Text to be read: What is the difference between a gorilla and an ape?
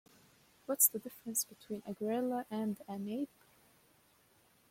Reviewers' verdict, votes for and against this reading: rejected, 1, 2